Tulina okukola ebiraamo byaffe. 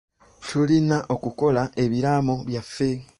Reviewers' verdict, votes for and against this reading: accepted, 2, 0